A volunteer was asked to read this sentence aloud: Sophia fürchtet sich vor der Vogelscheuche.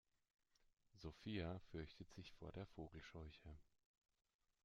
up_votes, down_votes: 2, 0